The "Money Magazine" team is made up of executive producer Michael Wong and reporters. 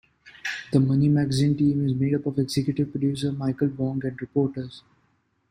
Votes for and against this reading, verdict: 2, 0, accepted